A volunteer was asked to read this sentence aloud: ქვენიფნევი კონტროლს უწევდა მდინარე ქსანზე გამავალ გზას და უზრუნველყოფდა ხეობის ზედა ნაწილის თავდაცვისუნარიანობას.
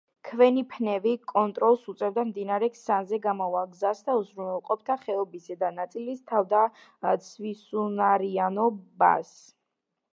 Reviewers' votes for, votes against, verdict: 1, 2, rejected